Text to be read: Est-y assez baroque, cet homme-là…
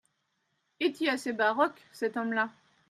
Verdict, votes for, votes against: accepted, 2, 0